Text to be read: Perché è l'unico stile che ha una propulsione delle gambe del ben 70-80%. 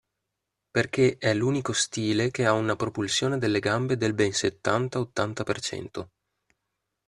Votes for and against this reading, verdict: 0, 2, rejected